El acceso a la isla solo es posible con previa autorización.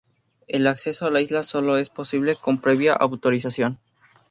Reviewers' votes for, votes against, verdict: 2, 0, accepted